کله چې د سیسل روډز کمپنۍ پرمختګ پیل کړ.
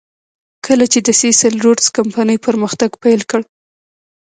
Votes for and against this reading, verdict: 1, 2, rejected